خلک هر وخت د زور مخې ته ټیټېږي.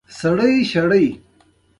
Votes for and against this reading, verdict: 0, 2, rejected